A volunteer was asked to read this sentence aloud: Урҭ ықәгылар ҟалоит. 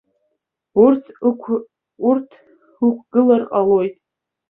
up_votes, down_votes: 0, 2